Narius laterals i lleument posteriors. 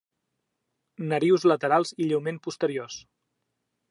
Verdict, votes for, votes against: accepted, 3, 0